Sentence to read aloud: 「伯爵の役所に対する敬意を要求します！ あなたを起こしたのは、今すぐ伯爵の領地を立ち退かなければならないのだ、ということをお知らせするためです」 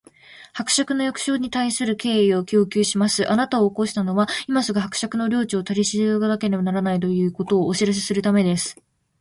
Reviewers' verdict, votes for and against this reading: rejected, 0, 2